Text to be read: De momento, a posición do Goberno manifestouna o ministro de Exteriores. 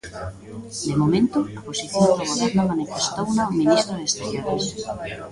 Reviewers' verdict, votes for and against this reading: accepted, 2, 1